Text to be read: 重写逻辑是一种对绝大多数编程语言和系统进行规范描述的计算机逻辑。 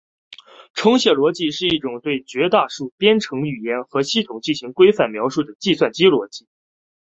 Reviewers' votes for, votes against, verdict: 1, 3, rejected